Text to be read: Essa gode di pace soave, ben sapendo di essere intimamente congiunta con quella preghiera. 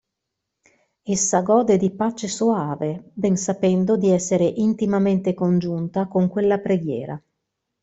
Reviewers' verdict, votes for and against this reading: accepted, 2, 0